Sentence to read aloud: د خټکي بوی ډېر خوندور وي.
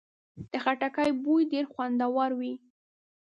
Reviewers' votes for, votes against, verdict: 2, 1, accepted